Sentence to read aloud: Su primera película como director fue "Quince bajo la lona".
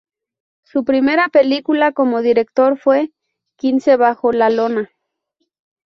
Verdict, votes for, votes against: accepted, 2, 0